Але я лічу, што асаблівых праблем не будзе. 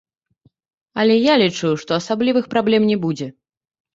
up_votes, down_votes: 1, 2